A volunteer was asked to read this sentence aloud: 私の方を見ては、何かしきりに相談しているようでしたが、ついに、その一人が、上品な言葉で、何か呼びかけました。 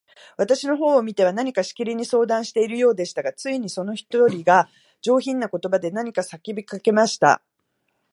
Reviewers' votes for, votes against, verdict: 0, 2, rejected